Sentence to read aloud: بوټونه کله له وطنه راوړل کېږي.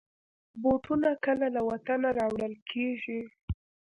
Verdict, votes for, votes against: rejected, 1, 2